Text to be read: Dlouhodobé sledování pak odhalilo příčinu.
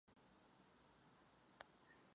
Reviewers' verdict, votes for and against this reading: rejected, 0, 2